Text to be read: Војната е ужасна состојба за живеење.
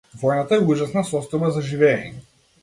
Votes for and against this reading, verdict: 2, 0, accepted